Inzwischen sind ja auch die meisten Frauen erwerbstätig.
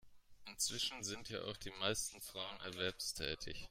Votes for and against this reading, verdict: 2, 0, accepted